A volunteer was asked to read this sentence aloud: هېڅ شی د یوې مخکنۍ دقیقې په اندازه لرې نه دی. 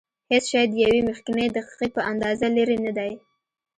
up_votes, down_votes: 2, 0